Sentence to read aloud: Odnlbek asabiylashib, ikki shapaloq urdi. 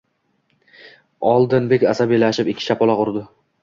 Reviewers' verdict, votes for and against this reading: rejected, 1, 2